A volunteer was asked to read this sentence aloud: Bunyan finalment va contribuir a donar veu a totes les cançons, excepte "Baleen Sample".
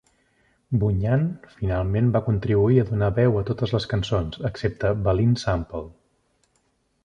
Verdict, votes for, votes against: accepted, 2, 0